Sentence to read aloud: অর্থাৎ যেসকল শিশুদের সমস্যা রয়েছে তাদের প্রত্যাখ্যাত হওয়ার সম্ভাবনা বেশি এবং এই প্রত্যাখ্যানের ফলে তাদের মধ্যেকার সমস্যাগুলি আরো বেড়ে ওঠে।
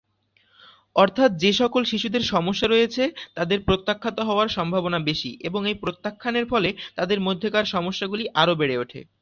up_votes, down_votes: 2, 0